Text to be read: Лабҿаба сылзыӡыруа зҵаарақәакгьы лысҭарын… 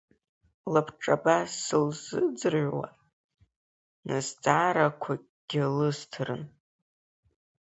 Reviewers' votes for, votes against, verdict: 2, 0, accepted